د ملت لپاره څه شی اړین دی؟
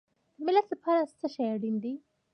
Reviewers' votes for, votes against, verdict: 2, 0, accepted